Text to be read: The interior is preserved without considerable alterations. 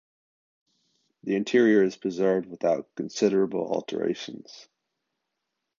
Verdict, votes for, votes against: accepted, 2, 0